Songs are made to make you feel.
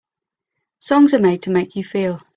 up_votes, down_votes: 2, 1